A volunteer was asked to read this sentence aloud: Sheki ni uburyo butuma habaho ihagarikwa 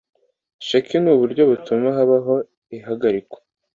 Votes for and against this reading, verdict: 2, 0, accepted